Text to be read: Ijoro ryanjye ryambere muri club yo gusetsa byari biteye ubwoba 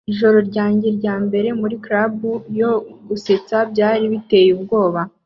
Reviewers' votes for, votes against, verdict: 2, 1, accepted